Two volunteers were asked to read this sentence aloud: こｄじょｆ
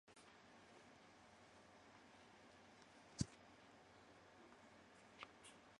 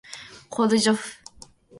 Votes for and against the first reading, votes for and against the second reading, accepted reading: 0, 2, 2, 0, second